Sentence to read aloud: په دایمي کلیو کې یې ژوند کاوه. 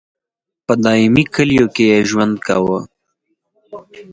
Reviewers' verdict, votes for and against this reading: rejected, 2, 4